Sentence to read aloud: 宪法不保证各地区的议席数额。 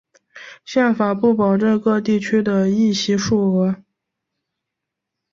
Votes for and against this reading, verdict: 2, 0, accepted